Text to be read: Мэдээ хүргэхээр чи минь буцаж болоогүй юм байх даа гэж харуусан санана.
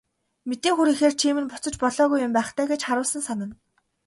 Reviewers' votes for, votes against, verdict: 2, 0, accepted